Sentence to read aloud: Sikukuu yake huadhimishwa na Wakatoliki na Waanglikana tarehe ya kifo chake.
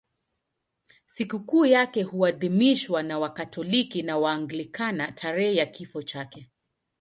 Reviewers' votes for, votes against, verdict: 2, 0, accepted